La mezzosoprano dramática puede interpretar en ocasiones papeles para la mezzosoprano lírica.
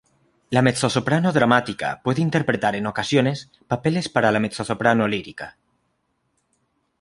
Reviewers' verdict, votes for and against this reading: accepted, 2, 0